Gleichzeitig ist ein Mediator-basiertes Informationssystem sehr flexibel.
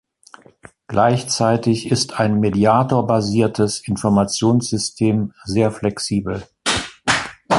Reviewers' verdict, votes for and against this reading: accepted, 2, 0